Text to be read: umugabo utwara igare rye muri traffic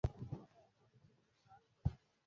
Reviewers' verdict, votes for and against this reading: rejected, 0, 2